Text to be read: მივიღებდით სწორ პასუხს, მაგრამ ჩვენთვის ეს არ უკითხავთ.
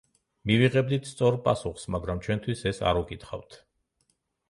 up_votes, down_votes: 2, 0